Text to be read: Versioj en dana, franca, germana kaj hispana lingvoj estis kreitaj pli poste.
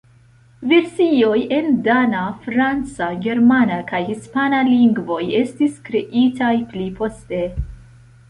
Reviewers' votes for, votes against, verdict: 2, 0, accepted